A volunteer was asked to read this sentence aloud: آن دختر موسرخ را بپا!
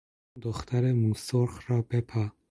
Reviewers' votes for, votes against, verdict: 2, 4, rejected